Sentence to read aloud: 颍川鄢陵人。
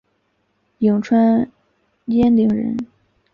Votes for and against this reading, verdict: 3, 0, accepted